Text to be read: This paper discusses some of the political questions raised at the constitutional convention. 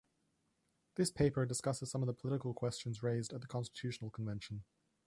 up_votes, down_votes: 2, 0